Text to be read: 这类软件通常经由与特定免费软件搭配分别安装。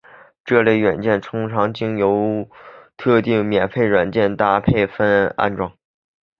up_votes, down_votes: 3, 1